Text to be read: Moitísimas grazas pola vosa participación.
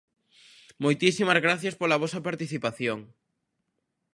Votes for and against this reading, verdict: 0, 2, rejected